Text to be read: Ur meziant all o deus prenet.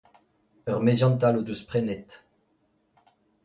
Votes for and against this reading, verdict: 2, 0, accepted